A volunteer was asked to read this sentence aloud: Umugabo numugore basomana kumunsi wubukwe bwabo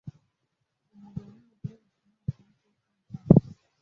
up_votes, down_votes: 0, 2